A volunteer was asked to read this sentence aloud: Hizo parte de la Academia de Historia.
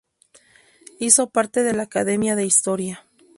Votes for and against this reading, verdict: 2, 0, accepted